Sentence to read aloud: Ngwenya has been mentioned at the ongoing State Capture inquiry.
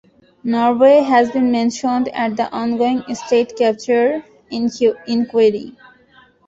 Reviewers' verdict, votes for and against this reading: rejected, 1, 2